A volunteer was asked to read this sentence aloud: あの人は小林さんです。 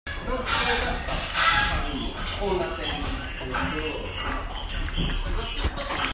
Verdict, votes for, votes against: rejected, 0, 2